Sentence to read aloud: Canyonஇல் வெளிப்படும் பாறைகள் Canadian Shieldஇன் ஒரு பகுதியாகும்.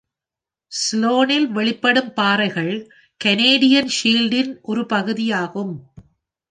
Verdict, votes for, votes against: rejected, 0, 2